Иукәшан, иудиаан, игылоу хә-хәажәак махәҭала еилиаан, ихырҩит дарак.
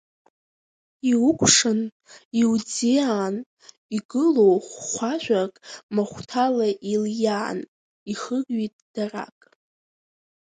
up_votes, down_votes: 0, 2